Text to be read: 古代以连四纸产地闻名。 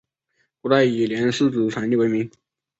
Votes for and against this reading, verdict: 4, 1, accepted